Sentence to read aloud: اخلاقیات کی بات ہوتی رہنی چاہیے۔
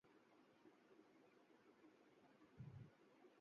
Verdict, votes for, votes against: rejected, 9, 18